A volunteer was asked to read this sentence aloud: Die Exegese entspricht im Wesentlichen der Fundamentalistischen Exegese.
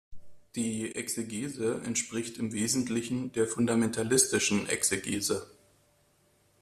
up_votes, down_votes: 2, 0